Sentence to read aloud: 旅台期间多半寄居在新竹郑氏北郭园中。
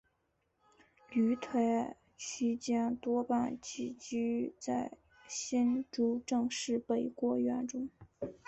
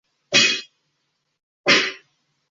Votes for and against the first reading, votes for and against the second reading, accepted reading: 2, 1, 0, 3, first